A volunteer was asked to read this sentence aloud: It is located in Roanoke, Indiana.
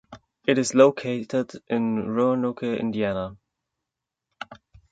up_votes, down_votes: 1, 2